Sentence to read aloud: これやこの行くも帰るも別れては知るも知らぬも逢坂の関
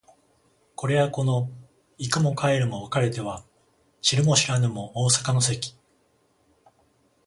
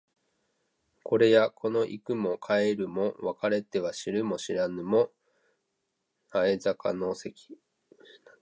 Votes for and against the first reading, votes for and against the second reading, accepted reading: 14, 0, 1, 2, first